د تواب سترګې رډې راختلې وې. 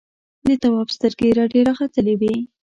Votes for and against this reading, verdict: 0, 2, rejected